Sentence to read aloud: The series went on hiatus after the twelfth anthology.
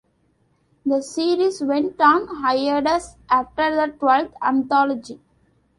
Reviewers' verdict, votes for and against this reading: accepted, 2, 0